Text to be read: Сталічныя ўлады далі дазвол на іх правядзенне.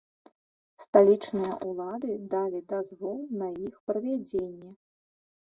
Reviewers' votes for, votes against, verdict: 1, 2, rejected